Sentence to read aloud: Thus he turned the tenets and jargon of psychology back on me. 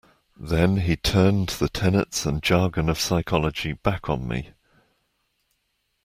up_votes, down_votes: 2, 1